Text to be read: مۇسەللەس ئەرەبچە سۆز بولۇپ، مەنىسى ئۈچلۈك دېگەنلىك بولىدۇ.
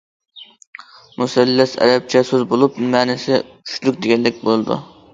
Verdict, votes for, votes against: accepted, 2, 0